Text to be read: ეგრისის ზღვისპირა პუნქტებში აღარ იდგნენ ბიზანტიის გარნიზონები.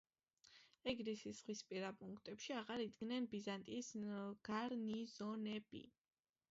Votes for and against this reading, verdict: 3, 3, rejected